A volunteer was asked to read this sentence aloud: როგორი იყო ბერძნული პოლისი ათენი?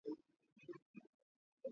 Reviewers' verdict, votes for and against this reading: rejected, 0, 3